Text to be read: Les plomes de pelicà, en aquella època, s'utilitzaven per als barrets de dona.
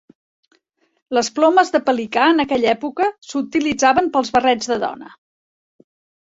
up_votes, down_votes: 1, 2